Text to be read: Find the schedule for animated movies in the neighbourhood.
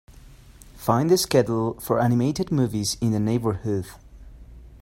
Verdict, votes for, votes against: accepted, 2, 0